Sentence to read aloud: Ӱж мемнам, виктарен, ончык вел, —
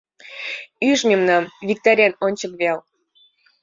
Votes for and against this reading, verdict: 2, 0, accepted